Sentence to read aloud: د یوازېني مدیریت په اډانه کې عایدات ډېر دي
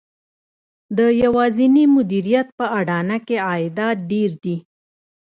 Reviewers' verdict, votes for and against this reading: accepted, 2, 0